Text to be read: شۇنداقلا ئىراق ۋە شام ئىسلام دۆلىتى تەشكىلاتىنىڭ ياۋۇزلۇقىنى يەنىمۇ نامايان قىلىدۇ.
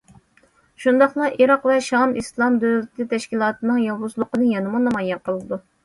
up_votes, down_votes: 2, 0